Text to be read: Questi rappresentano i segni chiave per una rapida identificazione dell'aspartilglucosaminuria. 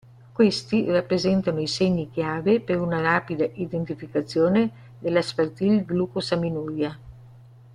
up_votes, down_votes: 1, 2